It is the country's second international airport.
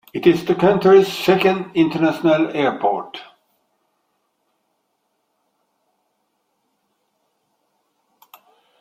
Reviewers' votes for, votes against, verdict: 2, 1, accepted